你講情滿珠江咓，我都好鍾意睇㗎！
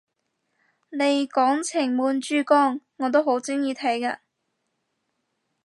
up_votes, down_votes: 0, 2